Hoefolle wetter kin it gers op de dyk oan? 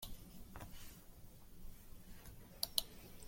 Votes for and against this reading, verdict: 0, 2, rejected